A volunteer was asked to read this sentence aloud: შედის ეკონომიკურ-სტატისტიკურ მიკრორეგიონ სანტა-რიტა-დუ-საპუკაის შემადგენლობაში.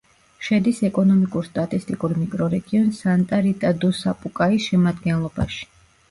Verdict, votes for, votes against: rejected, 1, 2